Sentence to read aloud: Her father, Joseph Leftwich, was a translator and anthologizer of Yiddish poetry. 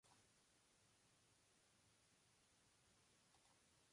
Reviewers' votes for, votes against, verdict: 0, 2, rejected